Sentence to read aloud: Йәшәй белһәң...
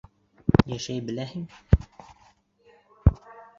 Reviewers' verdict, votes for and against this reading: rejected, 1, 2